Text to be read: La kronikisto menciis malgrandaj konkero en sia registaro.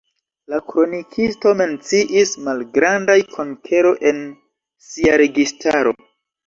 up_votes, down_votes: 2, 1